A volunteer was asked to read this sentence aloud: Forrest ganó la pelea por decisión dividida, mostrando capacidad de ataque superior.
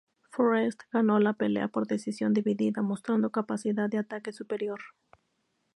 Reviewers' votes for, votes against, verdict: 0, 2, rejected